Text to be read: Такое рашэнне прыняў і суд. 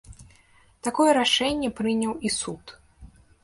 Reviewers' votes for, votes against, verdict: 2, 1, accepted